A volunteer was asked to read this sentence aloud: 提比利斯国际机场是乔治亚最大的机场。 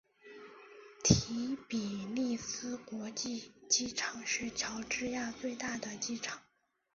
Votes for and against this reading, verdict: 0, 3, rejected